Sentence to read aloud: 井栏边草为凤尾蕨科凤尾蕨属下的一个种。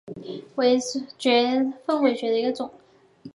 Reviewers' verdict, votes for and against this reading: rejected, 0, 2